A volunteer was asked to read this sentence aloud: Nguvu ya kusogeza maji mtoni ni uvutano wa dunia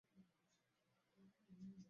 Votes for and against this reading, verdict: 0, 2, rejected